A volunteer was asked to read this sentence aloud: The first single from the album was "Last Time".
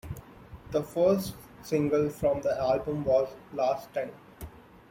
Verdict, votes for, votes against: accepted, 2, 0